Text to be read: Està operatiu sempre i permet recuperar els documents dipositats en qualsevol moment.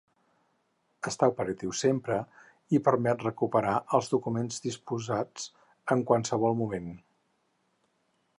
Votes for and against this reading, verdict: 0, 4, rejected